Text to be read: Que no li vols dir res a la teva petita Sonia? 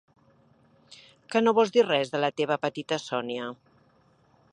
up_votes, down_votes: 1, 2